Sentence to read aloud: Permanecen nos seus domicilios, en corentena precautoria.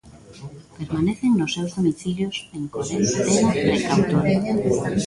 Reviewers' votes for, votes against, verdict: 0, 2, rejected